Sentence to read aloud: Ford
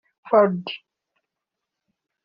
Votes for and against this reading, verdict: 0, 2, rejected